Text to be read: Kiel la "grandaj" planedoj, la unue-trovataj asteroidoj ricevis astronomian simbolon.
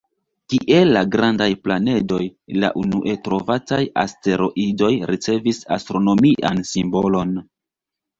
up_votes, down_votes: 0, 2